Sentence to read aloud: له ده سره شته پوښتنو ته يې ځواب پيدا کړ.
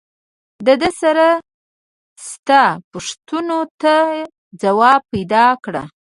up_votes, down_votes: 0, 2